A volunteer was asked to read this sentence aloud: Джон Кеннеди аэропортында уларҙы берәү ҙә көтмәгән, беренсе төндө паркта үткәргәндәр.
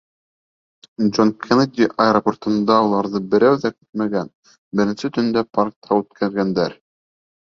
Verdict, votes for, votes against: accepted, 3, 0